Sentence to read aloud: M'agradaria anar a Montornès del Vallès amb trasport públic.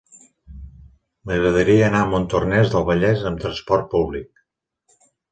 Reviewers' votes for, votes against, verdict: 4, 0, accepted